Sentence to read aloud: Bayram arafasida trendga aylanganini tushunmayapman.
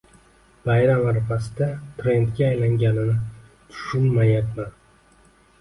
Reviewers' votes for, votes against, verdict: 2, 0, accepted